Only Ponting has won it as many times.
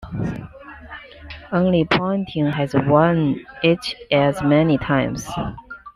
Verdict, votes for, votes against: accepted, 2, 0